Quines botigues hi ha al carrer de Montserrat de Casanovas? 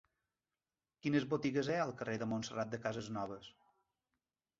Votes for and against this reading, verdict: 0, 2, rejected